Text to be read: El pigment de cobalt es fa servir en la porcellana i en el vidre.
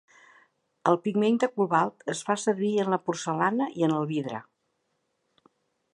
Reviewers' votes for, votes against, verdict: 2, 0, accepted